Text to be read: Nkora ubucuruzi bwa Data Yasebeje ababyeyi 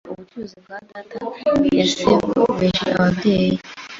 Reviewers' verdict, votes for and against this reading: rejected, 2, 3